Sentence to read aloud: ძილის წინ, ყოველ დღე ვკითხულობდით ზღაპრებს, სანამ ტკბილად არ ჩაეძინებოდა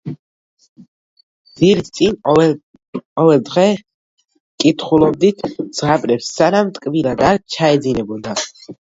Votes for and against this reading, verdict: 0, 2, rejected